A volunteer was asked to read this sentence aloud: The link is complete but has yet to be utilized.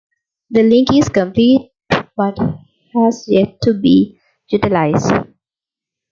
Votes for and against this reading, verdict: 2, 0, accepted